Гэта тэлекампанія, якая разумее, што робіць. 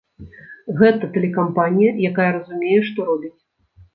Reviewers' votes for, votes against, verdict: 2, 0, accepted